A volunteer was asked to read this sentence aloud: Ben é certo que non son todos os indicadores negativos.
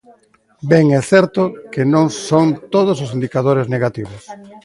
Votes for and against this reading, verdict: 1, 2, rejected